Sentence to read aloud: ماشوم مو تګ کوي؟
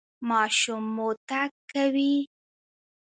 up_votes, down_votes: 2, 0